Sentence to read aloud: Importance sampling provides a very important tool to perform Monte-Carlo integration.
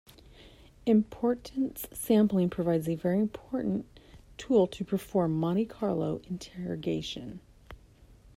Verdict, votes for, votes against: rejected, 1, 2